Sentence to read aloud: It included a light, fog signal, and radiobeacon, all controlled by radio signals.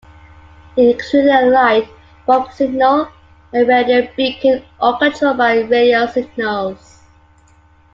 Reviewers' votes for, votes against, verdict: 2, 1, accepted